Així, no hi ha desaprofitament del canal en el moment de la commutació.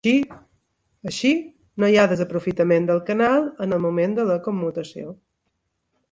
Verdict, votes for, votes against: rejected, 0, 2